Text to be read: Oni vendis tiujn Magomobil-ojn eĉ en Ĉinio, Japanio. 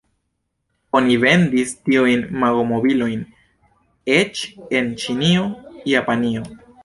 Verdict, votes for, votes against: accepted, 2, 0